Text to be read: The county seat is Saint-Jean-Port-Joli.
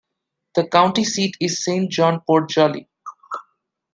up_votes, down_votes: 2, 1